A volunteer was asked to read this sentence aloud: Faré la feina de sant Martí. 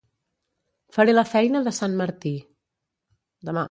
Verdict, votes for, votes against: rejected, 1, 2